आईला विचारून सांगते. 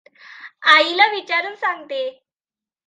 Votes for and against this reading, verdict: 2, 0, accepted